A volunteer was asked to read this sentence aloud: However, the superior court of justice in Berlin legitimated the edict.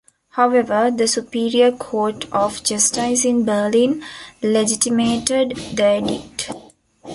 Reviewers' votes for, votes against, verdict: 1, 2, rejected